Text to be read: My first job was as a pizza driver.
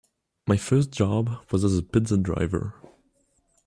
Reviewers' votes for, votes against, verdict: 2, 0, accepted